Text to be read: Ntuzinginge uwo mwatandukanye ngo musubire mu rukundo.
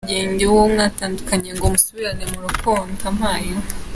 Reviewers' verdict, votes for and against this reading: rejected, 0, 3